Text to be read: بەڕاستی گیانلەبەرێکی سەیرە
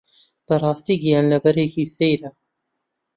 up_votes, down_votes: 2, 0